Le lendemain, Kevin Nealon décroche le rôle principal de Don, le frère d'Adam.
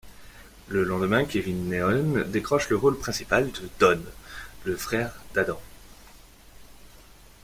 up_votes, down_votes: 1, 2